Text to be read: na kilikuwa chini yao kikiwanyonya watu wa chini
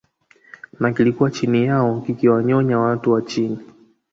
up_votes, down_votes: 0, 2